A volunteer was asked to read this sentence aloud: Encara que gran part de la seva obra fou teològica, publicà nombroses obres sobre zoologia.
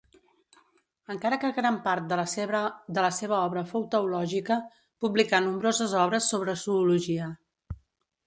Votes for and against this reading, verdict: 1, 2, rejected